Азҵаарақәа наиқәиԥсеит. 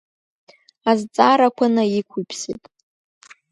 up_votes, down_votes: 2, 0